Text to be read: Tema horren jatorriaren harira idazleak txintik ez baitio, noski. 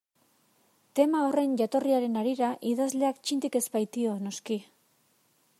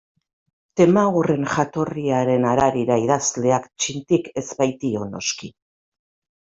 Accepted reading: first